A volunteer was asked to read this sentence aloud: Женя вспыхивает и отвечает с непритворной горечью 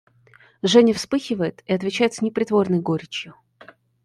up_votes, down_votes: 0, 2